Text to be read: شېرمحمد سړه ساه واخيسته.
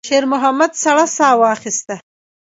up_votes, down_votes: 0, 2